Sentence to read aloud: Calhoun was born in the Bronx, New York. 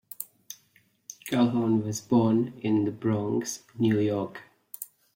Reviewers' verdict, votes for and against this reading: accepted, 2, 0